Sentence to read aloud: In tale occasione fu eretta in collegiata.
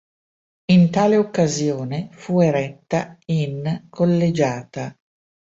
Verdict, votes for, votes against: accepted, 3, 0